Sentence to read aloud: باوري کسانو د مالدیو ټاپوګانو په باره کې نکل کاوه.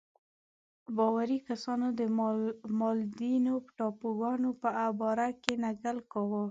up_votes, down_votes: 1, 2